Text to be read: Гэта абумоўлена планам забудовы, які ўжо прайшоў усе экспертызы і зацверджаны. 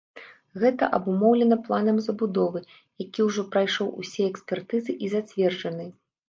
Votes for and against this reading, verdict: 3, 0, accepted